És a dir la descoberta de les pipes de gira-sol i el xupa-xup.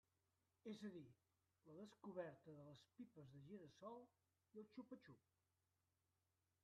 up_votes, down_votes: 0, 2